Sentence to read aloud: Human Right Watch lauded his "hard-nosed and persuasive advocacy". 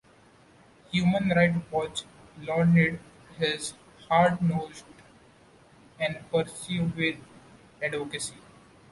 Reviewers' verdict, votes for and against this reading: rejected, 1, 2